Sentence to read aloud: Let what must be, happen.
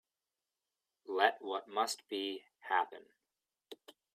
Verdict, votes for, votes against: accepted, 2, 0